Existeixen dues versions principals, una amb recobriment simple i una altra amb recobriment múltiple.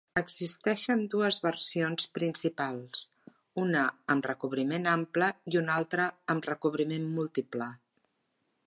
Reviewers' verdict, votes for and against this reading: rejected, 0, 2